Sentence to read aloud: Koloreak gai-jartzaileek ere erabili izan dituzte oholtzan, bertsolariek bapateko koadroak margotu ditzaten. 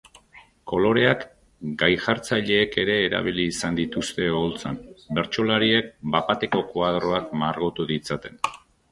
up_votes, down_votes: 3, 0